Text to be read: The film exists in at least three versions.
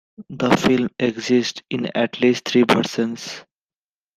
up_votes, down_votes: 0, 2